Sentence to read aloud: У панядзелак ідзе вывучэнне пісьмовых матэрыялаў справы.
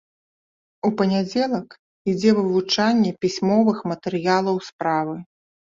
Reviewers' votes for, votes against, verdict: 0, 2, rejected